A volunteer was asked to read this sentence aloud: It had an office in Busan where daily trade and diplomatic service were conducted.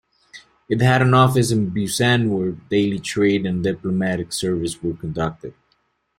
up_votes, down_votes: 2, 0